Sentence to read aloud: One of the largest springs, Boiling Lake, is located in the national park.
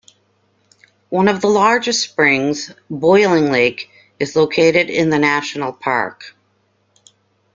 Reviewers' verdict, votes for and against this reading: accepted, 2, 0